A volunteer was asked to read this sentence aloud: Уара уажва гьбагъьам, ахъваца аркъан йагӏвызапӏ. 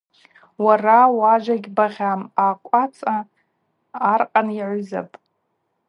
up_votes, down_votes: 4, 0